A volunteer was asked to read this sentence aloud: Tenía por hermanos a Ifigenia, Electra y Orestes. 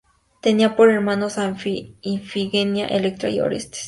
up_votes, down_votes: 2, 0